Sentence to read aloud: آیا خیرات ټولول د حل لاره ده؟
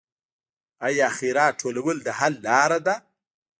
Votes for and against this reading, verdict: 1, 2, rejected